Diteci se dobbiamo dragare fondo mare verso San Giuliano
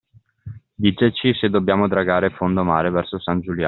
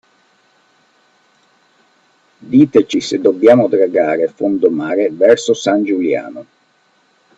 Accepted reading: second